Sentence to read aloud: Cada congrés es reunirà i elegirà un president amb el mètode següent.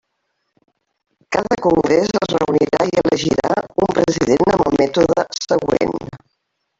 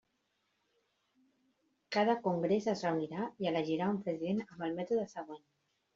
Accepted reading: second